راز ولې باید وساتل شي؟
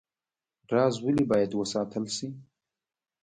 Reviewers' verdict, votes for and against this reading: accepted, 2, 1